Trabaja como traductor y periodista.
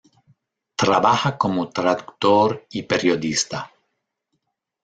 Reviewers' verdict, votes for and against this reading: accepted, 2, 1